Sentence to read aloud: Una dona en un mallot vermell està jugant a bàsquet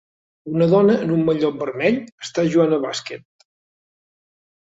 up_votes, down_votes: 3, 0